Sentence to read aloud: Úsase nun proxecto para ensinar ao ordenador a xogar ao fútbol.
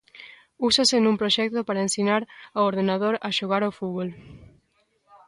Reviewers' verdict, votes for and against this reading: rejected, 1, 2